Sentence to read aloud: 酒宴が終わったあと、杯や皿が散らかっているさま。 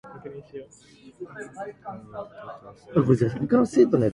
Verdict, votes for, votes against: rejected, 0, 2